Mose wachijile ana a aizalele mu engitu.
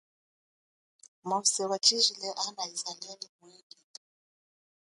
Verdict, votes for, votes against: rejected, 1, 2